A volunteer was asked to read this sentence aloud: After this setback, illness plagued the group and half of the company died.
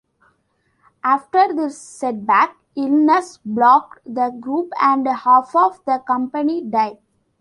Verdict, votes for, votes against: accepted, 2, 0